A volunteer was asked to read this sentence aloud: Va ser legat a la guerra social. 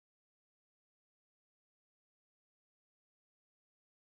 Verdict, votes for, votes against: rejected, 0, 2